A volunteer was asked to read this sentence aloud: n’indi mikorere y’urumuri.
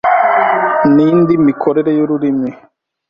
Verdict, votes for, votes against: rejected, 1, 2